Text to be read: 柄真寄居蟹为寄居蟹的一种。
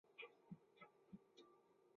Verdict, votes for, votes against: rejected, 0, 2